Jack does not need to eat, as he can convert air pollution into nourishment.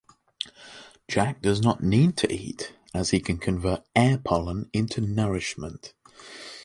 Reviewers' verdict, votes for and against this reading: rejected, 1, 2